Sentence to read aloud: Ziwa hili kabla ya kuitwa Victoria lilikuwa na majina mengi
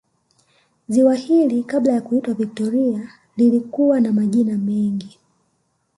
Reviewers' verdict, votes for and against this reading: rejected, 1, 2